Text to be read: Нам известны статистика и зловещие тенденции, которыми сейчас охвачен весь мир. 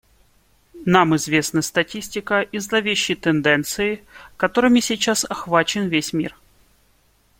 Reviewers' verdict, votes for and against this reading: accepted, 2, 0